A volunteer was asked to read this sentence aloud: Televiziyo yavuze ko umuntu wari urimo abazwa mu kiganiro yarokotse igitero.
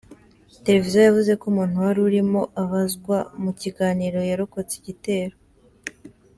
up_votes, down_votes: 2, 0